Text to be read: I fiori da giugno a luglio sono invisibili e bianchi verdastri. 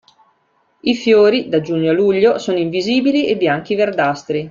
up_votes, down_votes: 2, 1